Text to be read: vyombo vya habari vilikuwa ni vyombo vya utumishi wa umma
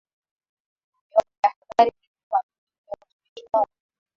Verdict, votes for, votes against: rejected, 0, 2